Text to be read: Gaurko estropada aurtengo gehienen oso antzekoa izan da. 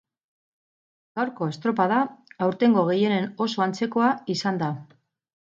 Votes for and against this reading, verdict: 4, 0, accepted